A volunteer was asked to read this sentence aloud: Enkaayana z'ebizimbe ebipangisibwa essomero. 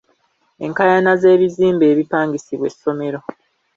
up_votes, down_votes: 2, 0